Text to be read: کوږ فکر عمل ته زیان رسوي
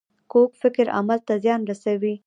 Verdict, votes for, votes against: rejected, 1, 2